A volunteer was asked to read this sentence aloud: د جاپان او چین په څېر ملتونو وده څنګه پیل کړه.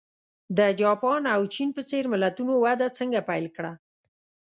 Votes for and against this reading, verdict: 2, 0, accepted